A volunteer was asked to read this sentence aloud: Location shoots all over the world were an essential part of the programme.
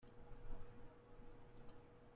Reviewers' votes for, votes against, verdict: 0, 2, rejected